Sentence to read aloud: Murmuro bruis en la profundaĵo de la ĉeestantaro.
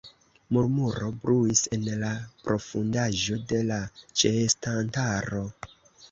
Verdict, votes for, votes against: rejected, 1, 2